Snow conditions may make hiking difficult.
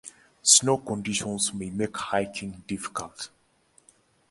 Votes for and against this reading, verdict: 2, 0, accepted